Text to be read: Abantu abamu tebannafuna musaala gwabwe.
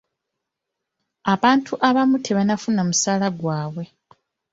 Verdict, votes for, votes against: accepted, 2, 0